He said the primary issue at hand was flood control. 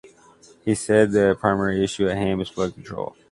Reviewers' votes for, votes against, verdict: 1, 2, rejected